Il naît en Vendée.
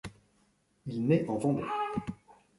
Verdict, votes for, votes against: rejected, 1, 2